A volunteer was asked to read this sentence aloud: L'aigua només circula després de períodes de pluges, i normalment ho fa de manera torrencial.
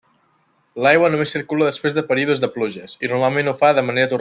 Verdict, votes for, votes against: rejected, 0, 2